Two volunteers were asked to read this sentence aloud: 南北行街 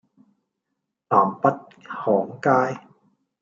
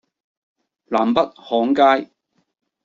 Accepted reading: second